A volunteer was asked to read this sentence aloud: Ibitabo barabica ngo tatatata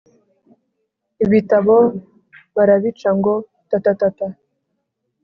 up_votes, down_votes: 4, 0